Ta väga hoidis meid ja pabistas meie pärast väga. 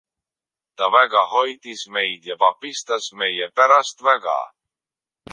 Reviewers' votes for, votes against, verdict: 2, 1, accepted